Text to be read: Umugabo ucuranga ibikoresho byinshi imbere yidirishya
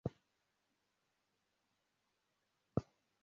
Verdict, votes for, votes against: rejected, 0, 2